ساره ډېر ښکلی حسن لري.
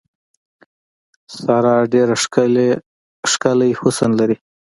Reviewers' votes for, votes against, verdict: 2, 0, accepted